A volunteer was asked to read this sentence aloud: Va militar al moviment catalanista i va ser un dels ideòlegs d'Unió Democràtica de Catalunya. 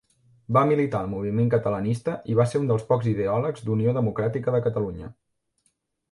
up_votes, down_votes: 1, 2